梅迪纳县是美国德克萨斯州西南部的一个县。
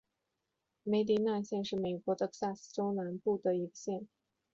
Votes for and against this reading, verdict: 3, 2, accepted